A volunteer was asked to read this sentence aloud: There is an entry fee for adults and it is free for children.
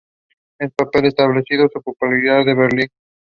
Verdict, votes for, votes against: rejected, 0, 2